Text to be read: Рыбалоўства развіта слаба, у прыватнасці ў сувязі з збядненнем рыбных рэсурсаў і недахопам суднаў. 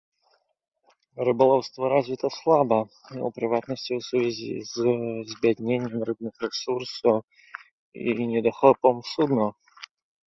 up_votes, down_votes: 1, 2